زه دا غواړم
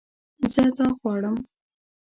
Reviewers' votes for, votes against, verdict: 0, 2, rejected